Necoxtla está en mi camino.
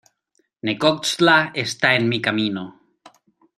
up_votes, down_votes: 2, 1